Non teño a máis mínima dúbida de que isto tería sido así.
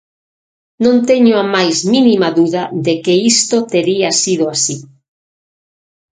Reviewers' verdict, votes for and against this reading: rejected, 0, 6